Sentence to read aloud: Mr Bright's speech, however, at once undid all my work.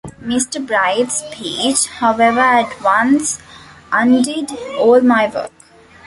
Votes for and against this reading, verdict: 0, 2, rejected